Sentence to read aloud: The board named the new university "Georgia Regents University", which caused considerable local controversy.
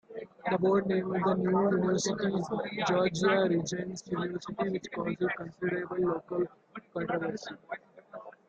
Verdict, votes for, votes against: rejected, 0, 2